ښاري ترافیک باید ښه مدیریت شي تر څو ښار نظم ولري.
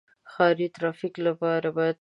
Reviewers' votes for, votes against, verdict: 0, 2, rejected